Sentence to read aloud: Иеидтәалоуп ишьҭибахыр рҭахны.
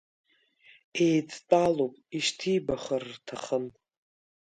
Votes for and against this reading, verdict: 1, 2, rejected